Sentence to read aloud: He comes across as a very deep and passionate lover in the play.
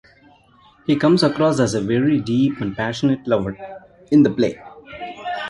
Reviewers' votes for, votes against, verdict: 2, 0, accepted